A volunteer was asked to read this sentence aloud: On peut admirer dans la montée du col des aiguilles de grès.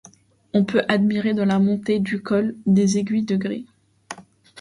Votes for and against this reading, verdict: 1, 2, rejected